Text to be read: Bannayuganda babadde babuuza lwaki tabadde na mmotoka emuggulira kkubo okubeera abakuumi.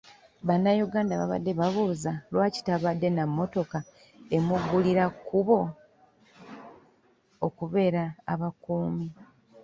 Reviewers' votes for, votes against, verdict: 1, 2, rejected